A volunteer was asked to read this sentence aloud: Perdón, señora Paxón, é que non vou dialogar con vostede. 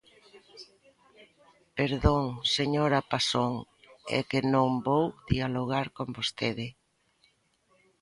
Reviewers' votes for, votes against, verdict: 2, 0, accepted